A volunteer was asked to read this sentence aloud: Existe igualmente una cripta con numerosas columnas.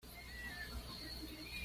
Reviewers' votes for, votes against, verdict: 1, 2, rejected